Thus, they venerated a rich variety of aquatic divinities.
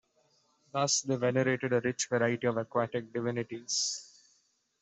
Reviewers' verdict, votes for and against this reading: accepted, 2, 0